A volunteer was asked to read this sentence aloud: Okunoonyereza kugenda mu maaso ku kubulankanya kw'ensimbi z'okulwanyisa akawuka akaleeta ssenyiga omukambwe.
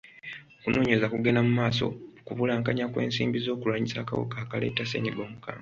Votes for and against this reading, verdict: 2, 0, accepted